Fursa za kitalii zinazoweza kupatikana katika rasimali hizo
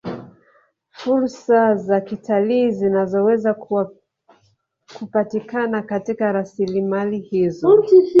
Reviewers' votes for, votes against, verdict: 0, 2, rejected